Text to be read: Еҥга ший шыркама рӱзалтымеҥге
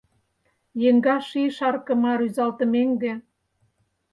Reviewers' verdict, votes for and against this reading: rejected, 2, 4